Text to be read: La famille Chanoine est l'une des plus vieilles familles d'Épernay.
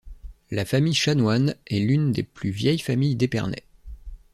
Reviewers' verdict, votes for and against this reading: accepted, 2, 0